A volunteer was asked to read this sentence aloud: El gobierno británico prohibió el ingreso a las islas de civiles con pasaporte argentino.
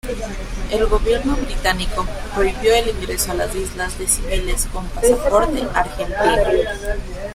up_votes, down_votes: 1, 2